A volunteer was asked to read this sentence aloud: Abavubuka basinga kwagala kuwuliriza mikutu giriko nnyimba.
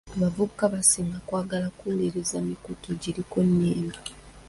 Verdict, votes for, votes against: accepted, 2, 0